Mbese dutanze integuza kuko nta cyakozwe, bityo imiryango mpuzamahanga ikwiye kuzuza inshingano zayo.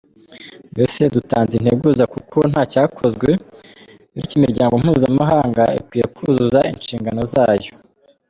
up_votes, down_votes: 2, 0